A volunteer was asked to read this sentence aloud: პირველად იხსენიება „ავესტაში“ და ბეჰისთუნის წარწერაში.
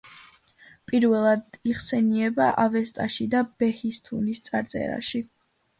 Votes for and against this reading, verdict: 2, 0, accepted